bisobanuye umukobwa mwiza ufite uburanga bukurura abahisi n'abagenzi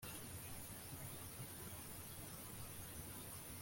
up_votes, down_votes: 1, 2